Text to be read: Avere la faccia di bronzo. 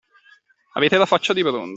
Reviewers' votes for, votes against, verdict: 0, 2, rejected